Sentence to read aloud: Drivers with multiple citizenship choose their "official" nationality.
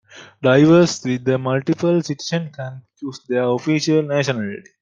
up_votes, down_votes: 2, 0